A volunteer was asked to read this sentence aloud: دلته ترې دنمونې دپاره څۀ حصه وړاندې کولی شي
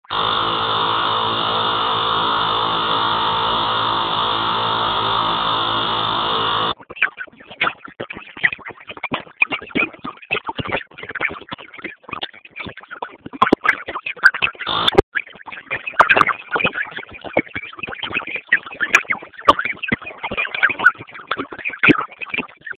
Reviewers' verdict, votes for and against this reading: rejected, 0, 2